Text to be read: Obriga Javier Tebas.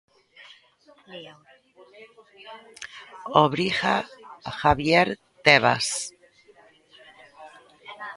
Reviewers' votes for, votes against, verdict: 0, 2, rejected